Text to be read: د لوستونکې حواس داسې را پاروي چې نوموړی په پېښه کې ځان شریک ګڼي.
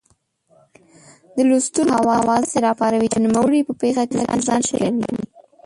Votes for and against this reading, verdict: 1, 2, rejected